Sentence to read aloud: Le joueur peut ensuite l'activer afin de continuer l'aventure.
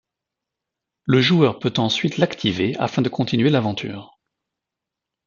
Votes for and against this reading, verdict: 2, 0, accepted